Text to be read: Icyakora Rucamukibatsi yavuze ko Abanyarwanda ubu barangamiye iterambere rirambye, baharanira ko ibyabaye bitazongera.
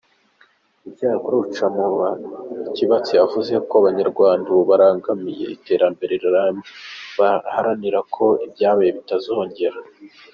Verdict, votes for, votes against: rejected, 1, 2